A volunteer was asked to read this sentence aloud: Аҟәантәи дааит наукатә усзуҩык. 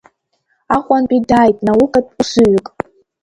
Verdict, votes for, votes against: rejected, 1, 2